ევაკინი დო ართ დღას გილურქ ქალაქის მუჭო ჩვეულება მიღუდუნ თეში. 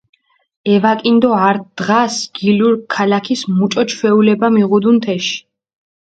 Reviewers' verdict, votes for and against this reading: accepted, 4, 0